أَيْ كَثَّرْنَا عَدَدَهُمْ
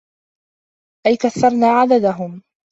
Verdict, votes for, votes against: accepted, 2, 0